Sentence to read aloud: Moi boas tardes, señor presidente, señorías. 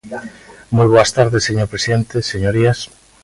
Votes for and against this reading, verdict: 2, 0, accepted